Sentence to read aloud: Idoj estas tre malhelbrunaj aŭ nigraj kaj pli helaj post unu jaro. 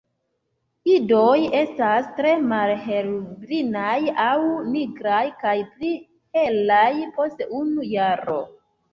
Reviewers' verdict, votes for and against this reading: rejected, 1, 2